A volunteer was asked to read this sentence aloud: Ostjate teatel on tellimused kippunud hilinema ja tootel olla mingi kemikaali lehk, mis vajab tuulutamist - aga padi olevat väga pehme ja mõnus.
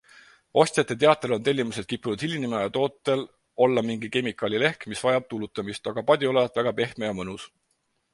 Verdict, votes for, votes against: accepted, 4, 0